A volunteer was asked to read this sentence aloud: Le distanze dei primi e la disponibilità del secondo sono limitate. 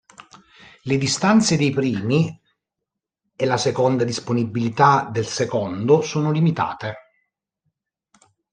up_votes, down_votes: 0, 2